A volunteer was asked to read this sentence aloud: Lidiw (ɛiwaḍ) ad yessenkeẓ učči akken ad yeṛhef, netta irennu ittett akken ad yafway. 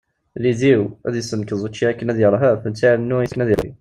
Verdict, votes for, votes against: rejected, 0, 2